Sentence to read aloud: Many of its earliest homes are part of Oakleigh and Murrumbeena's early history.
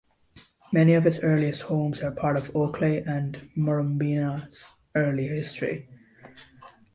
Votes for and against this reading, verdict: 2, 0, accepted